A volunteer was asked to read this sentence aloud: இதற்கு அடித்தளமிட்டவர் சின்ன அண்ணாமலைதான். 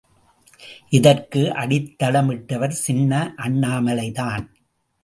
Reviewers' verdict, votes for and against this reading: accepted, 2, 0